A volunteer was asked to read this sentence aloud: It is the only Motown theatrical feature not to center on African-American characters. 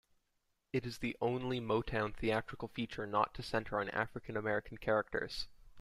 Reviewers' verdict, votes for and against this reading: accepted, 2, 1